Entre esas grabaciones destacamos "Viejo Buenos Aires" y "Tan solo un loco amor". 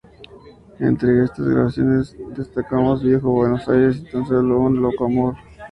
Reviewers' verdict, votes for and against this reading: rejected, 2, 2